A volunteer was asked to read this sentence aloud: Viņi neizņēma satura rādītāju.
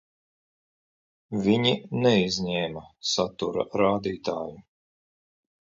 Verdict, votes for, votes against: rejected, 1, 2